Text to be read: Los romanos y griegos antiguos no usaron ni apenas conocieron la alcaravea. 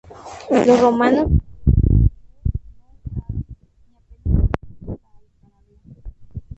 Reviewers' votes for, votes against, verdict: 0, 4, rejected